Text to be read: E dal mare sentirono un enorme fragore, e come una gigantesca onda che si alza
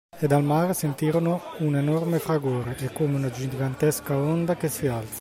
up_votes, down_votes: 2, 0